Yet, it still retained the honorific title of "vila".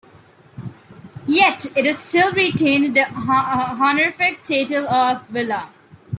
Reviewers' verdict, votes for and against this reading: rejected, 0, 2